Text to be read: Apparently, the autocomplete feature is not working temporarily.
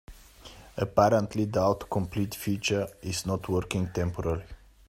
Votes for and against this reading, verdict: 1, 2, rejected